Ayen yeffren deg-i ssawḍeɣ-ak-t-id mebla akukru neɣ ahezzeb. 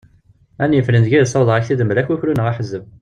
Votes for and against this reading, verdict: 1, 2, rejected